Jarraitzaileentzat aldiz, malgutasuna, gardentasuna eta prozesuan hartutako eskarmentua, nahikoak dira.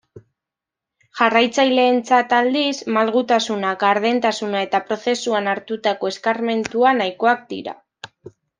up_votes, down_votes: 2, 0